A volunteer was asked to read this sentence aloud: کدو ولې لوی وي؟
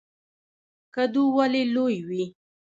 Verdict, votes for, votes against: rejected, 0, 2